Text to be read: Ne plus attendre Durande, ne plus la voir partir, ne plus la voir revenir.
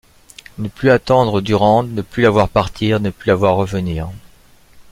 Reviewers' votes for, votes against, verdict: 2, 0, accepted